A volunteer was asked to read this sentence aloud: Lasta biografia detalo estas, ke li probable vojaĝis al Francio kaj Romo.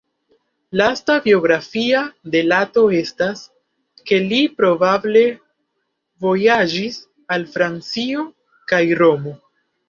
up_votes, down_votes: 0, 2